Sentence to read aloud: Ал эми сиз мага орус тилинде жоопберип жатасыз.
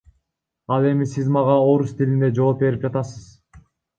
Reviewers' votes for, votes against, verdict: 1, 2, rejected